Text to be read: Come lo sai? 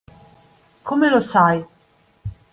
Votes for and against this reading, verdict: 2, 0, accepted